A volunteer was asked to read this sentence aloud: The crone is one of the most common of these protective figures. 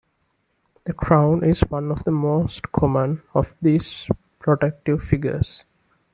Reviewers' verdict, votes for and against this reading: accepted, 2, 0